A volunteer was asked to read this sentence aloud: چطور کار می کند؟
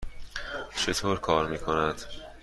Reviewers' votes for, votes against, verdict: 2, 0, accepted